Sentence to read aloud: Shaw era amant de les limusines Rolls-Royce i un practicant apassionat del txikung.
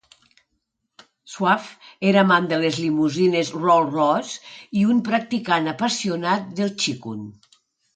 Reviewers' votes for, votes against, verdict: 2, 1, accepted